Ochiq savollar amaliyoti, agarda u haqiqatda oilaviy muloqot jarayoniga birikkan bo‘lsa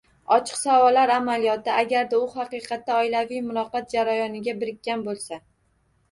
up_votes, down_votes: 2, 0